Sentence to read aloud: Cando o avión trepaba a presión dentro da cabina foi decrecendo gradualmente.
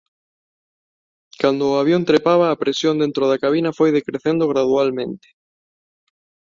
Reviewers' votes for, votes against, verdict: 2, 0, accepted